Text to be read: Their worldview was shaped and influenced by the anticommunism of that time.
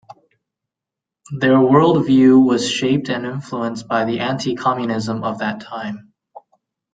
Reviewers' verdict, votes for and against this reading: accepted, 2, 0